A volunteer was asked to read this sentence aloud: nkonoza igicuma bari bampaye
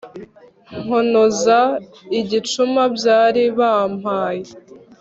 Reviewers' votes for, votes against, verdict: 1, 2, rejected